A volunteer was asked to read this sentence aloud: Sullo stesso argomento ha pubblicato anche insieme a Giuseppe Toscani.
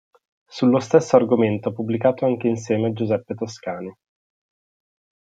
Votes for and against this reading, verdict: 2, 0, accepted